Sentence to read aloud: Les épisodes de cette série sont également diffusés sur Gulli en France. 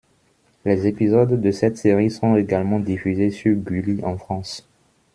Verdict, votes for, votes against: rejected, 1, 2